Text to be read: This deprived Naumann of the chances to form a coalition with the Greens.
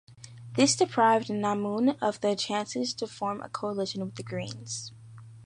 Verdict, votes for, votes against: accepted, 2, 0